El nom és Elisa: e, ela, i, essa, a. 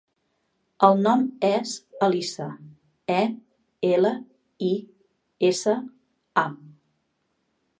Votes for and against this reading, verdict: 2, 0, accepted